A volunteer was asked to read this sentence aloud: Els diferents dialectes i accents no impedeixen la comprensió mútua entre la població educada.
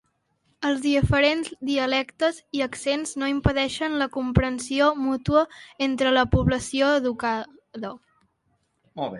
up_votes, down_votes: 0, 2